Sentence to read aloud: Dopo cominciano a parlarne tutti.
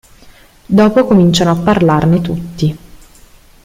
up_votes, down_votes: 3, 0